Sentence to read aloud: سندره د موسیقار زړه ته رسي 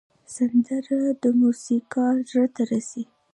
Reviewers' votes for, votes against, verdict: 2, 1, accepted